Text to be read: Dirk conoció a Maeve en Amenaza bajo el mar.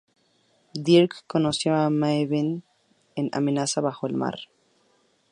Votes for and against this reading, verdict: 2, 0, accepted